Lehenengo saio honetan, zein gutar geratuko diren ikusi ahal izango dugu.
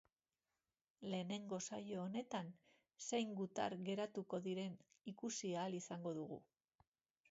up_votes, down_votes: 2, 0